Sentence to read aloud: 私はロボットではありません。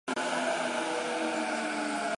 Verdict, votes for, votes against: rejected, 0, 2